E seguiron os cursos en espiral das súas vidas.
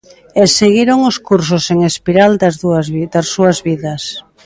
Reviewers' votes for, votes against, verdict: 0, 2, rejected